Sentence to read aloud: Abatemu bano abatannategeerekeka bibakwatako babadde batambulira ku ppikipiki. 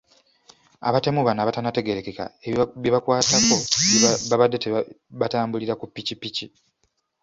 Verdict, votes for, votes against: rejected, 0, 2